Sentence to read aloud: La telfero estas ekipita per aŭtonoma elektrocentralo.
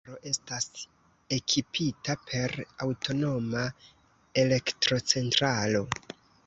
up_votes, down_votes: 0, 3